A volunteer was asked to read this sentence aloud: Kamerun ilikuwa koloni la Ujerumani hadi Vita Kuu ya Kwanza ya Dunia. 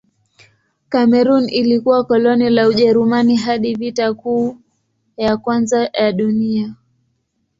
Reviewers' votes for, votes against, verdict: 2, 0, accepted